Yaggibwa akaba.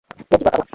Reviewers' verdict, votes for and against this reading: rejected, 1, 2